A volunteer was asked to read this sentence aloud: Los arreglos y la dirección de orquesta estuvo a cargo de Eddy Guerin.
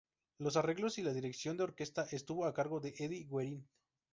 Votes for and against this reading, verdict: 4, 0, accepted